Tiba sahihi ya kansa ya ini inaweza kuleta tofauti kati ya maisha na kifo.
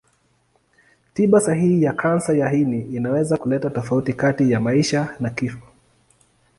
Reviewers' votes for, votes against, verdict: 2, 0, accepted